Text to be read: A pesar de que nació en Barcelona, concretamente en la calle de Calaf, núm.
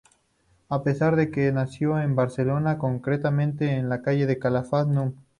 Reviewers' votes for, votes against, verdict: 2, 2, rejected